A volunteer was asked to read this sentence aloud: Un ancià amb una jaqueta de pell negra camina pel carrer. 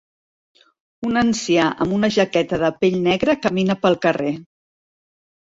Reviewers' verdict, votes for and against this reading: accepted, 2, 0